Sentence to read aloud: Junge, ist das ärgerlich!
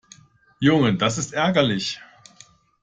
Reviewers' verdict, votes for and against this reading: rejected, 1, 2